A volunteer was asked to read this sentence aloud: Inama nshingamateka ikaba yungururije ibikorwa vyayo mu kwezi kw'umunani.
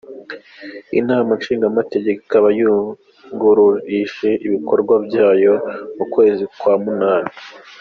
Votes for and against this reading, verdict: 1, 2, rejected